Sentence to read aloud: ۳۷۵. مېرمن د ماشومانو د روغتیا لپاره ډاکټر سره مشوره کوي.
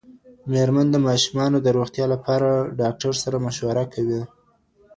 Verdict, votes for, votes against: rejected, 0, 2